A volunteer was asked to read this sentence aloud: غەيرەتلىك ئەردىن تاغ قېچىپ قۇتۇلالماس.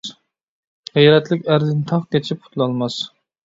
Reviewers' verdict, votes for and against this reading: accepted, 2, 0